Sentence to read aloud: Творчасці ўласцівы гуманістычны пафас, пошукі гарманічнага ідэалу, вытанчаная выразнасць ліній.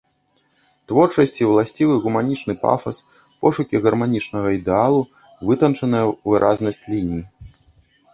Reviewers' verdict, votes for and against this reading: rejected, 0, 2